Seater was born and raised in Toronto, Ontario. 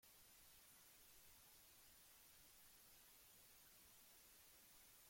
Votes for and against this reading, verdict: 0, 2, rejected